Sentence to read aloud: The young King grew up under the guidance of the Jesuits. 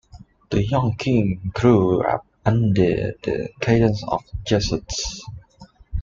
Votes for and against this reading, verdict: 0, 3, rejected